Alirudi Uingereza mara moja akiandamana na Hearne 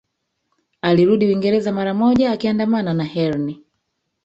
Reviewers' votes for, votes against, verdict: 1, 2, rejected